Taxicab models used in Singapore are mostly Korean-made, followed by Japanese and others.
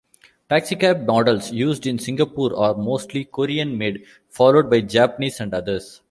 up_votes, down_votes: 2, 0